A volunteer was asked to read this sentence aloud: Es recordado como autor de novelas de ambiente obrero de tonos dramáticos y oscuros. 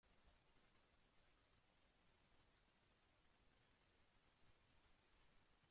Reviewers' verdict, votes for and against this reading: rejected, 0, 2